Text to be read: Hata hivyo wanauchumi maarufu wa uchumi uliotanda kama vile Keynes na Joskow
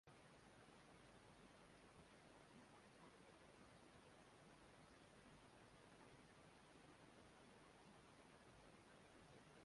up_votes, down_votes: 0, 3